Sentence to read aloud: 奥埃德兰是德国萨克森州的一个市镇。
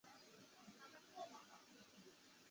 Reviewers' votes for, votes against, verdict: 0, 2, rejected